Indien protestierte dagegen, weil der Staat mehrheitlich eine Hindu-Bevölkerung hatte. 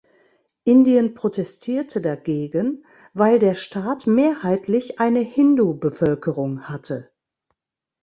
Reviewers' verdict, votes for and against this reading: accepted, 2, 0